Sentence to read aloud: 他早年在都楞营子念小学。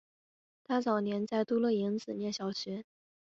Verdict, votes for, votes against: accepted, 3, 0